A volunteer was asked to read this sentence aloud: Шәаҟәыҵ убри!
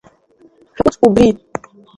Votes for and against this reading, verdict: 1, 3, rejected